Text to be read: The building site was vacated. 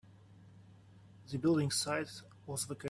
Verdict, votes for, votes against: rejected, 0, 2